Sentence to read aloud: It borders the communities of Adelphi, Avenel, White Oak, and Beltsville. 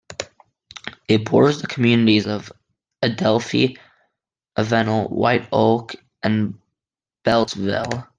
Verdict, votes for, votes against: accepted, 2, 1